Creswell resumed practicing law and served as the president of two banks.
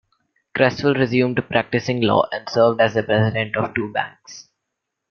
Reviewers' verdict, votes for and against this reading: rejected, 1, 2